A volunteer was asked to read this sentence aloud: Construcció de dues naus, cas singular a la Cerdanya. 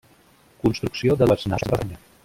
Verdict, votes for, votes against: rejected, 0, 2